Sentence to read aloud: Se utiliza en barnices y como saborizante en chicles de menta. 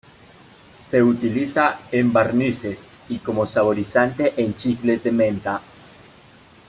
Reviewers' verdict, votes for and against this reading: accepted, 2, 0